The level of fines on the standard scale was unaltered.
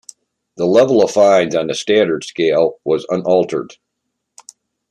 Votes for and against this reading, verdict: 2, 0, accepted